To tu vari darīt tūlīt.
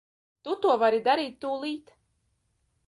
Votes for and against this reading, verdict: 0, 2, rejected